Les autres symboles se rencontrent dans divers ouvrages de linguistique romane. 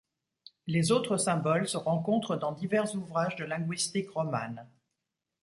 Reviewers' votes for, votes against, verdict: 2, 0, accepted